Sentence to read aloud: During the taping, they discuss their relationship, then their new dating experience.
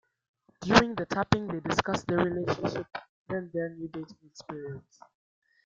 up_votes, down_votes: 0, 2